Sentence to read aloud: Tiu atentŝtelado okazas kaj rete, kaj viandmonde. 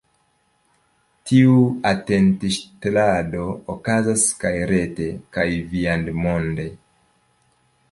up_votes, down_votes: 2, 0